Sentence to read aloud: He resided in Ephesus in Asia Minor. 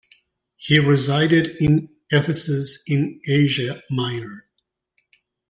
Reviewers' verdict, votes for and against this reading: accepted, 2, 1